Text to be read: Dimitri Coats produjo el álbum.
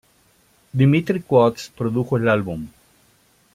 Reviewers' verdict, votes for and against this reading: accepted, 2, 0